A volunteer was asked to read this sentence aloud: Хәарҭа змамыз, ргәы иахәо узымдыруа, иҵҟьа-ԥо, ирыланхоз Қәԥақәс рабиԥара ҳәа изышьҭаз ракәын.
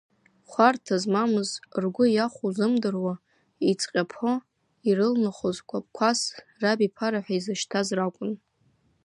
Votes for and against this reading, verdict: 0, 2, rejected